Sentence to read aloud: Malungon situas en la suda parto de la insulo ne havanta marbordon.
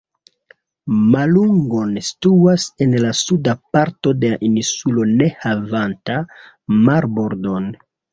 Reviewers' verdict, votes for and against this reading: rejected, 1, 2